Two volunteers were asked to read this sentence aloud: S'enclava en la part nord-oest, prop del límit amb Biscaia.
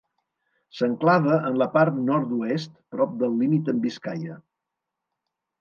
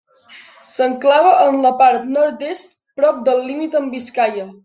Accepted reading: first